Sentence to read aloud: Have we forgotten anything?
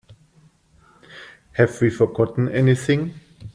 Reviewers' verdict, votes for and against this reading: accepted, 2, 0